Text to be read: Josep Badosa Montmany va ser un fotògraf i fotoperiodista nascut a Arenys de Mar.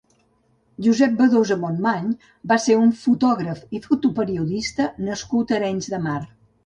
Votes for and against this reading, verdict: 3, 0, accepted